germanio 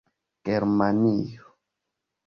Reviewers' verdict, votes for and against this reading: accepted, 2, 0